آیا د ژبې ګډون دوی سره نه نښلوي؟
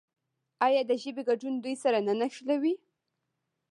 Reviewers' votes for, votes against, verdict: 1, 2, rejected